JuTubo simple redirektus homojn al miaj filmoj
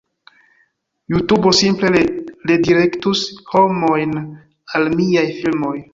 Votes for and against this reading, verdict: 1, 2, rejected